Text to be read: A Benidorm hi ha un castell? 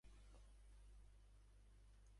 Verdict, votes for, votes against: rejected, 1, 2